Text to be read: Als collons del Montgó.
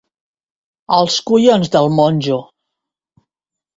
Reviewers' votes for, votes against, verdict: 0, 2, rejected